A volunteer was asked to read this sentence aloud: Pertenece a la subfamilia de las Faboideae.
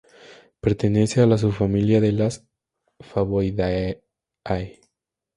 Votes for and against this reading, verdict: 0, 2, rejected